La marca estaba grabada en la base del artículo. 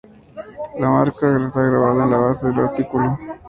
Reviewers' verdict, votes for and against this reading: rejected, 0, 2